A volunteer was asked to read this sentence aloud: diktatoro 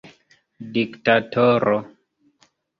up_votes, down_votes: 2, 0